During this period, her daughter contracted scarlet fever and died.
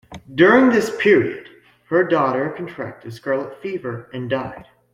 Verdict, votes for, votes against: accepted, 2, 0